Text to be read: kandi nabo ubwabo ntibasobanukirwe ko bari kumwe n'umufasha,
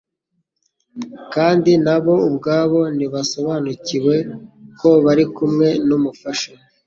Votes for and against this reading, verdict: 2, 1, accepted